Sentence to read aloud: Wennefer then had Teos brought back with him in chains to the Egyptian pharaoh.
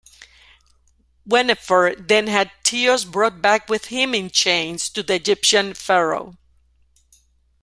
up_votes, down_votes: 2, 0